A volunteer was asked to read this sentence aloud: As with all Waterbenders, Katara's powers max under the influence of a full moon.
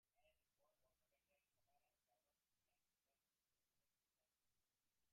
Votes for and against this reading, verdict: 0, 2, rejected